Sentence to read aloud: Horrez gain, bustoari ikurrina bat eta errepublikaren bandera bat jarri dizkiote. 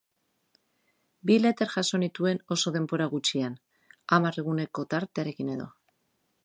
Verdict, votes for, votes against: rejected, 0, 3